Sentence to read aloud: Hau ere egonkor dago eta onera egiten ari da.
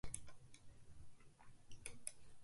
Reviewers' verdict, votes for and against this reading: rejected, 0, 2